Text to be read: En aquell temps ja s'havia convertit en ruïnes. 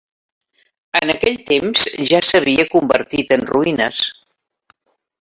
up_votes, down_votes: 1, 2